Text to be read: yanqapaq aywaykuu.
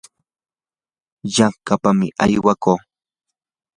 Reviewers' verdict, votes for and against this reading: accepted, 2, 0